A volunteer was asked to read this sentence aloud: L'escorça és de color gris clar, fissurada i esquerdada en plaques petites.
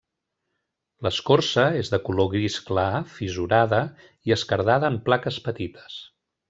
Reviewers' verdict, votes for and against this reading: rejected, 0, 2